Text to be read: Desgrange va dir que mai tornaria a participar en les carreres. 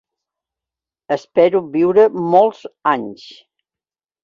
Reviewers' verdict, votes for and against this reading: rejected, 0, 2